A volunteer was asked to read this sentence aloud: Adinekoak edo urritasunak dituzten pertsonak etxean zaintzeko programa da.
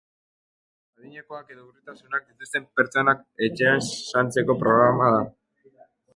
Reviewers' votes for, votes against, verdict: 2, 0, accepted